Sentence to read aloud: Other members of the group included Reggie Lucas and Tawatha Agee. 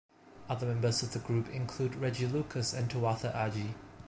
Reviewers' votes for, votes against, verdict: 1, 2, rejected